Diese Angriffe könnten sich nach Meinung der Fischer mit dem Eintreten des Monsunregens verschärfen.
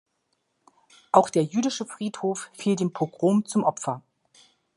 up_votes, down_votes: 0, 2